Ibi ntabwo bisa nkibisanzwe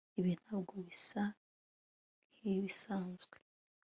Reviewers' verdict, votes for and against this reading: accepted, 2, 0